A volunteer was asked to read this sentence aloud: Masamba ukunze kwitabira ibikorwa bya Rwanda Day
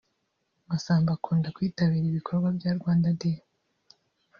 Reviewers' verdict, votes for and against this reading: rejected, 0, 2